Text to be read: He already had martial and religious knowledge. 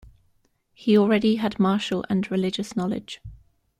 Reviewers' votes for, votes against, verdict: 2, 0, accepted